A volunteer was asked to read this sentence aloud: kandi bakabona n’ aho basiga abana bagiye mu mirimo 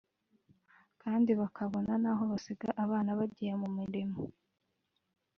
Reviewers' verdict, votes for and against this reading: rejected, 0, 2